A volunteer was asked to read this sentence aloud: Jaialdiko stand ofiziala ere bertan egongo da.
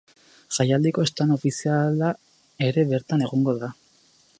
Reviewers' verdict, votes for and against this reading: rejected, 0, 4